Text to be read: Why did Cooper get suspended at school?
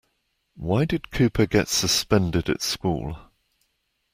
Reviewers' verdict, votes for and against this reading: accepted, 2, 0